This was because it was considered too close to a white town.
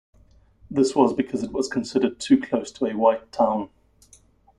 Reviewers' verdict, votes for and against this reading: accepted, 2, 0